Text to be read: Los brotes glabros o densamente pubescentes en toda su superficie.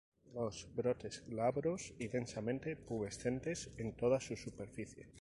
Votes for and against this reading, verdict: 0, 2, rejected